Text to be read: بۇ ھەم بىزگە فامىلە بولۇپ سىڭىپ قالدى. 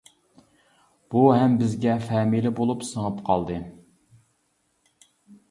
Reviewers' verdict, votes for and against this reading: accepted, 2, 1